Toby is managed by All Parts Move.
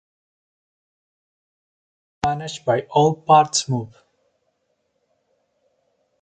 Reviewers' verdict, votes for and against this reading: rejected, 0, 2